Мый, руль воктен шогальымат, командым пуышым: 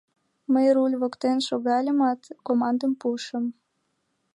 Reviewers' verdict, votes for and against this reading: accepted, 2, 0